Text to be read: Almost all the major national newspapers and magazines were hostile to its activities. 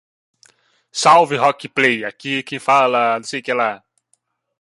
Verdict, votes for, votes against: rejected, 0, 2